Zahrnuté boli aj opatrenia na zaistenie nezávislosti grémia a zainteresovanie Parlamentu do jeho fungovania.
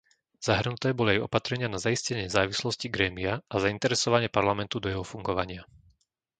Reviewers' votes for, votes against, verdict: 2, 0, accepted